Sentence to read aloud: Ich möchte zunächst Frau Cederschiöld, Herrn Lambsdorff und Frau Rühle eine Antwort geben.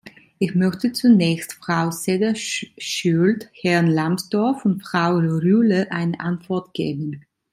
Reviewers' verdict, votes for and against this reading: rejected, 1, 2